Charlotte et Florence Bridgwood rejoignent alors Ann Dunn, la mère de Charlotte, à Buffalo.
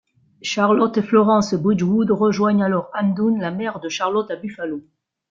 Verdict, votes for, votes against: rejected, 1, 2